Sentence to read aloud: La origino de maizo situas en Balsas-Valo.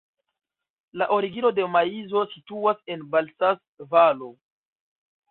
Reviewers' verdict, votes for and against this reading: rejected, 0, 2